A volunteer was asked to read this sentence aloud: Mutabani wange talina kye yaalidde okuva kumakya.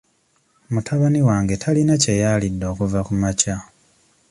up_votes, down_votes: 2, 0